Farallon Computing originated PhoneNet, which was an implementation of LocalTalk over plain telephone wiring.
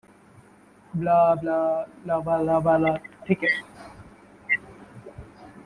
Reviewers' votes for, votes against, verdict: 0, 2, rejected